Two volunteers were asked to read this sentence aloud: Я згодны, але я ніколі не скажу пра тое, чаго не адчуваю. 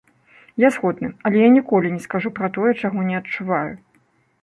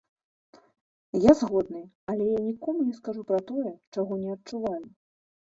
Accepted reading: first